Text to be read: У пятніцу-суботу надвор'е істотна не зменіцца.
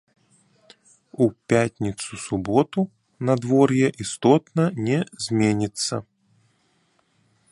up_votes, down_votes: 2, 0